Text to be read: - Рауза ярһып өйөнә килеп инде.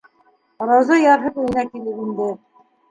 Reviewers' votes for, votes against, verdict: 3, 0, accepted